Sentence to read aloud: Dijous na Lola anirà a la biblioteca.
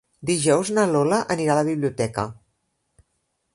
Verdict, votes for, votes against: accepted, 3, 0